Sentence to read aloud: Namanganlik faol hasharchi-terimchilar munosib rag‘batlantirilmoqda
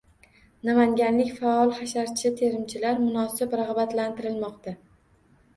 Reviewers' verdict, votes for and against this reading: accepted, 2, 0